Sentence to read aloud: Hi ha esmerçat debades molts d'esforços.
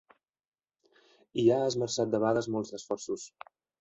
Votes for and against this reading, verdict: 1, 2, rejected